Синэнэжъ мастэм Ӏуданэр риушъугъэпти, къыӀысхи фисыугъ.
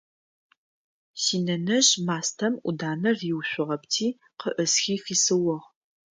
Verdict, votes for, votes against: accepted, 2, 0